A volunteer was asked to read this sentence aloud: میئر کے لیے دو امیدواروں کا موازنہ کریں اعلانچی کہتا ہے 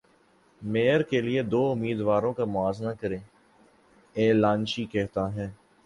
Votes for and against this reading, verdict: 2, 0, accepted